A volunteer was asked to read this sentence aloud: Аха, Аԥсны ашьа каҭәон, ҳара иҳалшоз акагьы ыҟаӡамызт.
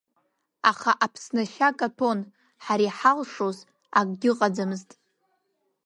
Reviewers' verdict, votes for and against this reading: rejected, 1, 2